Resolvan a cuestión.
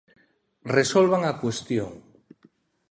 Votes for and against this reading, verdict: 2, 1, accepted